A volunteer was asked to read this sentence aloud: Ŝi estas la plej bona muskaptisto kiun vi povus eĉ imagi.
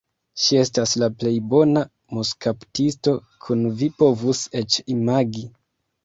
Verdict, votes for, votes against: rejected, 0, 2